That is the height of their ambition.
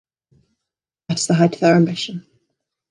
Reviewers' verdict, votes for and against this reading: rejected, 1, 2